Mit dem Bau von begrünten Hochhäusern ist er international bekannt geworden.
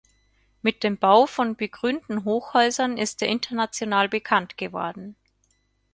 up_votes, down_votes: 4, 0